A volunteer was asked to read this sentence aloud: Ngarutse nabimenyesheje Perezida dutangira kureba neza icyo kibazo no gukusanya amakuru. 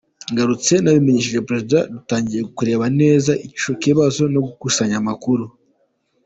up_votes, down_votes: 2, 0